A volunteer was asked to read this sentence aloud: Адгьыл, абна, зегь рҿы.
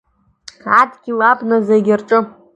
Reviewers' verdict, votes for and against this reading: accepted, 2, 0